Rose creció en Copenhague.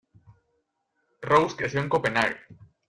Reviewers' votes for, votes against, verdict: 1, 2, rejected